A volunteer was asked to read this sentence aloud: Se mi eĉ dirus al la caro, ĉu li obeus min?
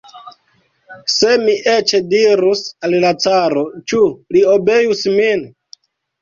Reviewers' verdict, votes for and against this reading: rejected, 1, 2